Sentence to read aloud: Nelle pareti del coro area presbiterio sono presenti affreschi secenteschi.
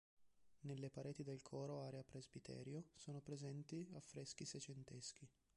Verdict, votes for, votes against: rejected, 1, 2